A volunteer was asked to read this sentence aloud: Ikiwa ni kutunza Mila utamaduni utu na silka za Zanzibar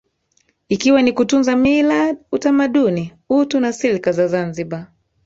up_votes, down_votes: 4, 0